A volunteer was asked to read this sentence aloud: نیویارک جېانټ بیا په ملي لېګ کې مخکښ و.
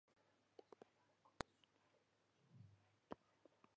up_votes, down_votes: 0, 2